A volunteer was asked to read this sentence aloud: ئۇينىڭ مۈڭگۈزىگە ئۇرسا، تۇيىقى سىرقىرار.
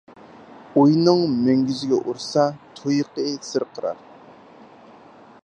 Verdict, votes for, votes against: accepted, 4, 2